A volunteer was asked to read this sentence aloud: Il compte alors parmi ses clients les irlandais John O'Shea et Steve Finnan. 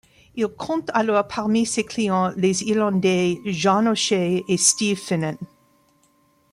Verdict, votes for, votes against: accepted, 2, 0